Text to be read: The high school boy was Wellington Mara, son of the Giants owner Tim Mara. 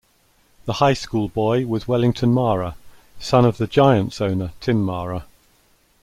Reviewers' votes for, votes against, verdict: 2, 0, accepted